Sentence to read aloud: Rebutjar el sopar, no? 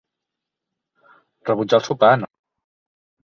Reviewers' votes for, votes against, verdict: 1, 3, rejected